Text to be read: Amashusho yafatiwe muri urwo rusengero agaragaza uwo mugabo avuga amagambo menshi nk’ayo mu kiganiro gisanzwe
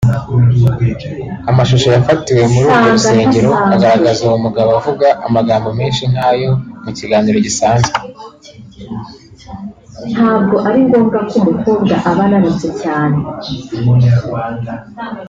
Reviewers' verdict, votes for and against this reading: rejected, 0, 2